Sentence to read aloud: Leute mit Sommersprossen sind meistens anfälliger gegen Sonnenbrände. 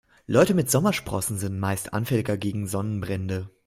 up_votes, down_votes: 2, 1